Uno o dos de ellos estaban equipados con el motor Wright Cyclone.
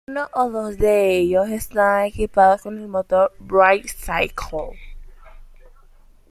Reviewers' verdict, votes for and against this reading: accepted, 2, 1